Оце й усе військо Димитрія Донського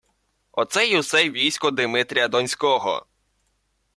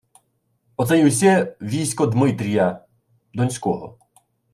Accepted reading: first